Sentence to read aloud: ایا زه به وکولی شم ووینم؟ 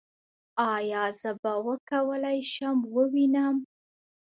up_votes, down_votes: 1, 2